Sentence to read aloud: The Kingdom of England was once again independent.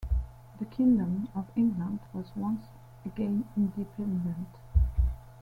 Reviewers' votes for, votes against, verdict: 2, 0, accepted